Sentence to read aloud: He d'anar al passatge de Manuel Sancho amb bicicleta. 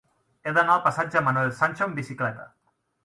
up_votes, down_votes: 0, 2